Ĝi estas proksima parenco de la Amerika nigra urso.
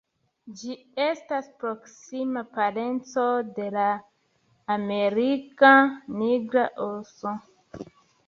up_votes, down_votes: 1, 2